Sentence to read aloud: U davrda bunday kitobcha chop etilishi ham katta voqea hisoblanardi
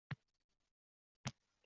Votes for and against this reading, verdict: 0, 2, rejected